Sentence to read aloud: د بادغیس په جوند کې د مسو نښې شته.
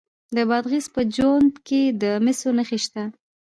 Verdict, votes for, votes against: rejected, 1, 2